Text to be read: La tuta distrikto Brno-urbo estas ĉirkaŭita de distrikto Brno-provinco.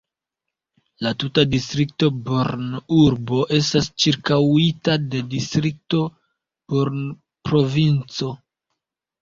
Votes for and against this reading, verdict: 0, 2, rejected